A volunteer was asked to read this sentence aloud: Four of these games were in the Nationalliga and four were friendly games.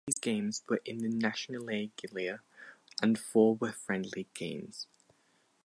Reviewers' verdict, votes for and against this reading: rejected, 2, 4